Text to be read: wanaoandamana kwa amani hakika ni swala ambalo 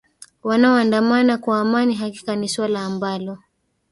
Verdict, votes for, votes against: rejected, 1, 2